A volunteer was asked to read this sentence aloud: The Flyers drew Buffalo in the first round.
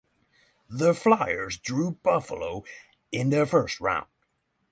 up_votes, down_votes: 6, 0